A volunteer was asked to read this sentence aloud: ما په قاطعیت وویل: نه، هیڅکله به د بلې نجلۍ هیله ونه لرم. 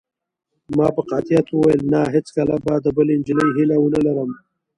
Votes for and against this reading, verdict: 2, 0, accepted